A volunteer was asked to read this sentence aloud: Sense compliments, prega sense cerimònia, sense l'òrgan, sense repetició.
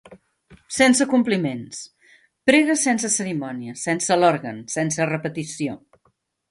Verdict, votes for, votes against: accepted, 2, 0